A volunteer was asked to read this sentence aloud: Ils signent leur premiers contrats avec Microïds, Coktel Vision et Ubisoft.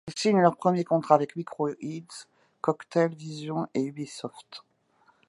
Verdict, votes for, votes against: accepted, 2, 0